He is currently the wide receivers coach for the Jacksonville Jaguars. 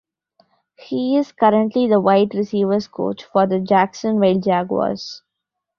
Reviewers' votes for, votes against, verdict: 1, 2, rejected